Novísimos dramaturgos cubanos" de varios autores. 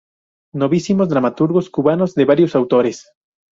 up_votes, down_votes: 2, 0